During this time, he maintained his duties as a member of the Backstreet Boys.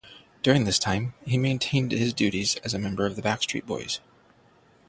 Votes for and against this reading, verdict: 0, 3, rejected